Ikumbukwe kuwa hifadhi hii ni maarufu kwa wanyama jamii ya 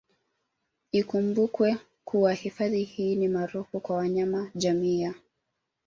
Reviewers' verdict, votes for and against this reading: rejected, 2, 3